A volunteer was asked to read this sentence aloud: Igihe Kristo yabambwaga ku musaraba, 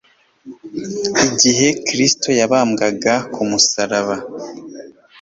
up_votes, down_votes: 2, 0